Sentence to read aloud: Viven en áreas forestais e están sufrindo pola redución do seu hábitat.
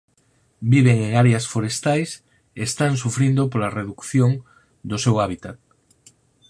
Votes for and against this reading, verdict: 0, 4, rejected